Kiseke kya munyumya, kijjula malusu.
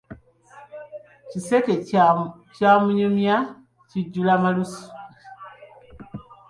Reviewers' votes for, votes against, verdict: 2, 1, accepted